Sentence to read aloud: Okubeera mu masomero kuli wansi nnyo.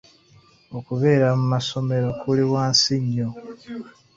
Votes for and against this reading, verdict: 2, 0, accepted